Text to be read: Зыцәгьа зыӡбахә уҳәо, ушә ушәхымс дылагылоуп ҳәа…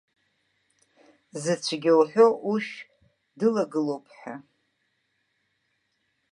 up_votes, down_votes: 0, 2